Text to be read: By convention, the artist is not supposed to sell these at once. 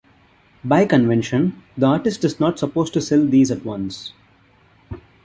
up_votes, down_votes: 2, 0